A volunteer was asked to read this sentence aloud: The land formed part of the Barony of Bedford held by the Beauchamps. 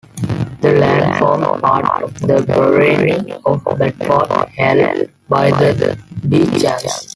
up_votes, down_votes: 0, 2